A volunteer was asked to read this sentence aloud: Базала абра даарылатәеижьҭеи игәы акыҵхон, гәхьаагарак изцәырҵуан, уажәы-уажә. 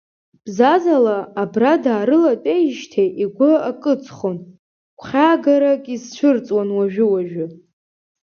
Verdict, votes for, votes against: rejected, 0, 3